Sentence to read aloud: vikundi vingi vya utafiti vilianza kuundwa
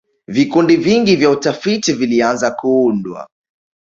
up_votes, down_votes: 2, 1